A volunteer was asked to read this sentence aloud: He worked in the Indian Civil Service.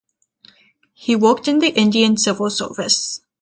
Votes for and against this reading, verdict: 0, 3, rejected